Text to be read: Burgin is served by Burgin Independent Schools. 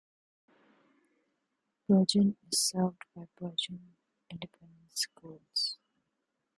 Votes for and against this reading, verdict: 2, 0, accepted